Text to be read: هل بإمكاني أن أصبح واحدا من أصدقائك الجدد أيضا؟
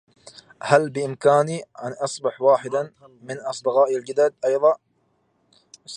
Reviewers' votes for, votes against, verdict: 0, 2, rejected